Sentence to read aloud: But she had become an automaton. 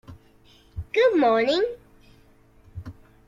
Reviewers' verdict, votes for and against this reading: rejected, 0, 2